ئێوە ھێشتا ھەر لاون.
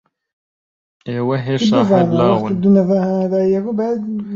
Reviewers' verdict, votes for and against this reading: rejected, 0, 5